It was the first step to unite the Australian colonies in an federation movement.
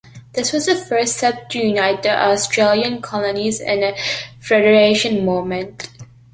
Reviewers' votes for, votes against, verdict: 2, 0, accepted